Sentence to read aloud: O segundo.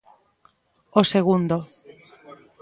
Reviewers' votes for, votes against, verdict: 2, 1, accepted